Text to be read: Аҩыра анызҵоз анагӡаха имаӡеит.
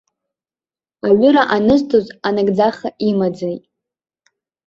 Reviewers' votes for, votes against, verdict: 2, 0, accepted